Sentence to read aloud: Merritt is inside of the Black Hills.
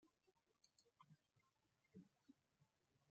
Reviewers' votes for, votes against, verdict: 0, 2, rejected